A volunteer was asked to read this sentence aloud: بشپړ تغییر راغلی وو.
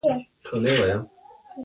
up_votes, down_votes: 2, 1